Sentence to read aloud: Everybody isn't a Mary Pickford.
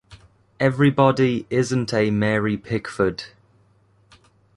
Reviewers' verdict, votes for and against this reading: rejected, 0, 2